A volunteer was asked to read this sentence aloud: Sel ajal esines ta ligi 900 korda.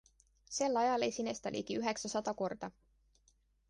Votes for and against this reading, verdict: 0, 2, rejected